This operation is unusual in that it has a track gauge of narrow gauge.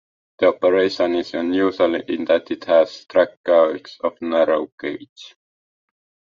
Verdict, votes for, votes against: rejected, 1, 2